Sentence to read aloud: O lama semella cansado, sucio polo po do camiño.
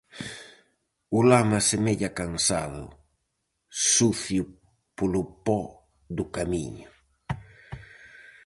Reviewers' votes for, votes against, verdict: 2, 0, accepted